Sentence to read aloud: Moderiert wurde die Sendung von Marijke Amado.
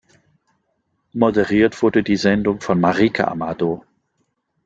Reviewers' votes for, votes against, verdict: 2, 0, accepted